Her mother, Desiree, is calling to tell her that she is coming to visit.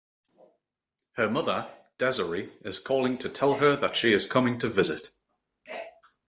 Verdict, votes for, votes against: rejected, 1, 2